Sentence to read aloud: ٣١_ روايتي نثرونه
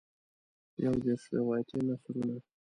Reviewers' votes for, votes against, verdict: 0, 2, rejected